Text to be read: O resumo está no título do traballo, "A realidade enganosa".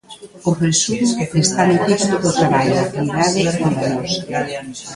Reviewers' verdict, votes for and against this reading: rejected, 0, 2